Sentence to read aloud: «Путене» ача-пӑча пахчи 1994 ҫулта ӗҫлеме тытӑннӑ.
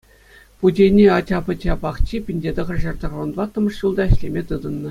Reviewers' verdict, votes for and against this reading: rejected, 0, 2